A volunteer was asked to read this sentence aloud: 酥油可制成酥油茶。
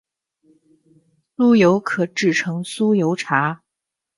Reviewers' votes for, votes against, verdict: 0, 2, rejected